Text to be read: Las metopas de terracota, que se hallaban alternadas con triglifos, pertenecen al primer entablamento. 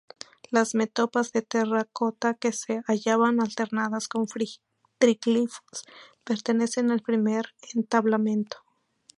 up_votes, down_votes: 0, 2